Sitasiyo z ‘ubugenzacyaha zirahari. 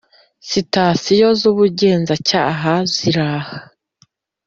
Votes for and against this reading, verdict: 1, 2, rejected